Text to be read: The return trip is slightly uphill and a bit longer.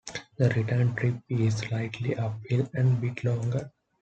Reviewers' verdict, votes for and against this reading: accepted, 2, 0